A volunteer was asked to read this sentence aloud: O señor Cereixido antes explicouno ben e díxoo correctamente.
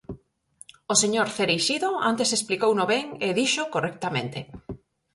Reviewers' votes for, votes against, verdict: 4, 0, accepted